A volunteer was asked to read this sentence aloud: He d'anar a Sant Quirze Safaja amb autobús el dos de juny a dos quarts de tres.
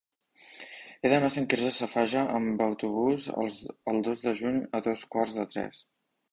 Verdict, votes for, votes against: accepted, 3, 1